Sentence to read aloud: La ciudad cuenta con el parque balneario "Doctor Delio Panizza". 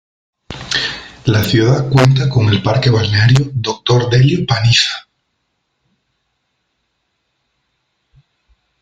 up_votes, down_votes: 2, 0